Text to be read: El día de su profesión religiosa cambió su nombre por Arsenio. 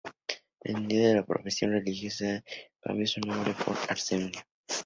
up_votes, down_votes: 0, 2